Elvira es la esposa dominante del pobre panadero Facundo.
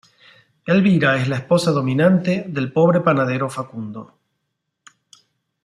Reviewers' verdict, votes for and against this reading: accepted, 2, 0